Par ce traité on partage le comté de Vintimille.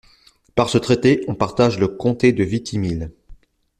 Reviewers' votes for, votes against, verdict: 0, 2, rejected